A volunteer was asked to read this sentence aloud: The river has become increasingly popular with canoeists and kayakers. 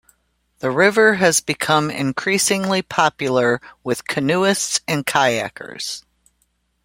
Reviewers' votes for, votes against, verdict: 2, 0, accepted